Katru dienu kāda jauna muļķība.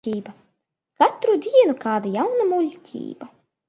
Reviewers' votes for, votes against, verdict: 1, 2, rejected